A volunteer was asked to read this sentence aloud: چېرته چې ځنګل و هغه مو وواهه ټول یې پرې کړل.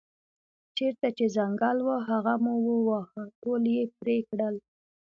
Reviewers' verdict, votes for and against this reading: accepted, 2, 0